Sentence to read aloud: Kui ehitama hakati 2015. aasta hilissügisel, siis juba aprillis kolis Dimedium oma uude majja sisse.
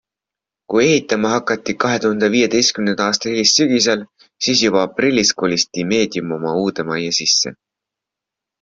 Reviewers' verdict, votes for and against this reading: rejected, 0, 2